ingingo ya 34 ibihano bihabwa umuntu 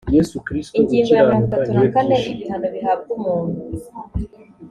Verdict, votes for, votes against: rejected, 0, 2